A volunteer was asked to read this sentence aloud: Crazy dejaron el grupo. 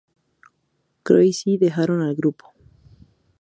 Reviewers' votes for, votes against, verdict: 2, 0, accepted